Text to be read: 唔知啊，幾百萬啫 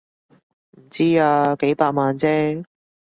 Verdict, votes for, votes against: rejected, 1, 2